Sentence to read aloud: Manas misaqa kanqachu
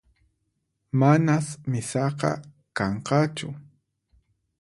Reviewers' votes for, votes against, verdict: 4, 0, accepted